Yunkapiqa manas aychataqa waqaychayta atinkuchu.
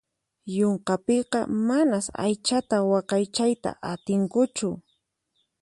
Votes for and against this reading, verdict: 2, 4, rejected